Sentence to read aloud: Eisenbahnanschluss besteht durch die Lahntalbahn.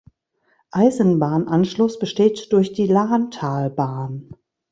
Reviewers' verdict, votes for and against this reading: accepted, 3, 0